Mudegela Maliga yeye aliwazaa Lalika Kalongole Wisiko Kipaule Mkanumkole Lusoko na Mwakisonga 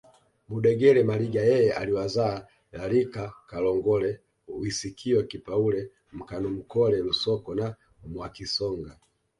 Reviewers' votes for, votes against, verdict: 0, 2, rejected